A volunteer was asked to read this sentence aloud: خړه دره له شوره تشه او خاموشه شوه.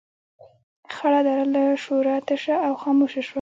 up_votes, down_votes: 0, 2